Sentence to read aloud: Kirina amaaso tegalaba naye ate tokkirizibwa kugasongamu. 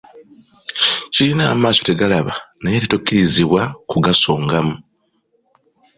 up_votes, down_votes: 2, 0